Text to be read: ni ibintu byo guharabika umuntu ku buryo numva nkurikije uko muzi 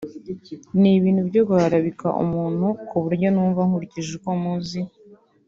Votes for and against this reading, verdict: 3, 0, accepted